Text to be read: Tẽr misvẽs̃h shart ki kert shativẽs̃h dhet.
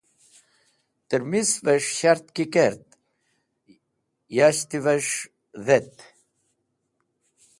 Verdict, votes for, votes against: rejected, 0, 2